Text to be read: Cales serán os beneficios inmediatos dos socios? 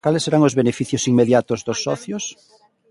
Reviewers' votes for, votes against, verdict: 1, 2, rejected